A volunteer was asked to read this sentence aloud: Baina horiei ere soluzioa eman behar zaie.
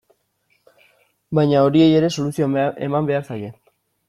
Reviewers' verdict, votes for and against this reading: rejected, 0, 2